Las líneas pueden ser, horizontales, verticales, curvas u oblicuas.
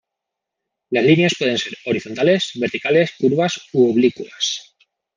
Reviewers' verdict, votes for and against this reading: rejected, 1, 2